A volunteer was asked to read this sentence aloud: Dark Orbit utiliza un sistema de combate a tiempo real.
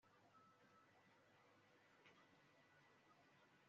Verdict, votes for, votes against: rejected, 1, 2